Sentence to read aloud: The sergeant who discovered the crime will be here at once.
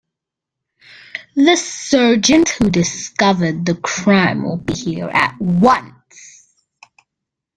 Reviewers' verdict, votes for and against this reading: accepted, 2, 0